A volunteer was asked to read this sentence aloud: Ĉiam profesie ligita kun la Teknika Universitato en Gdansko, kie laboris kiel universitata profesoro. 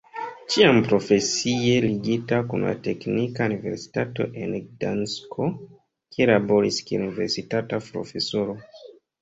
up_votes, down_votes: 1, 3